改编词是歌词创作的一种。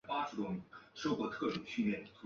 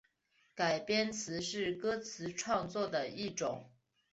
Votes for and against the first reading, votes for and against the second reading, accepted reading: 0, 2, 2, 1, second